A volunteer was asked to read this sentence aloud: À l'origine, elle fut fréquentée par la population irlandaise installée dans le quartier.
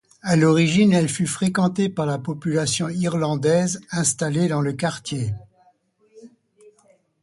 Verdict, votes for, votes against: accepted, 3, 0